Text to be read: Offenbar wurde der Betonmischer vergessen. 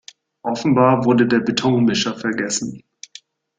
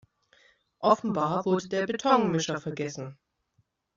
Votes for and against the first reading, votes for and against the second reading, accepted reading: 2, 0, 1, 2, first